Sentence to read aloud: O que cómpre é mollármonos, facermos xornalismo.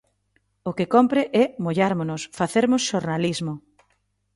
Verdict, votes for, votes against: accepted, 4, 1